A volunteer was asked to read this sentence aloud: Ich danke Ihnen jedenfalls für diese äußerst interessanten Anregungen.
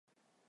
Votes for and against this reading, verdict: 0, 2, rejected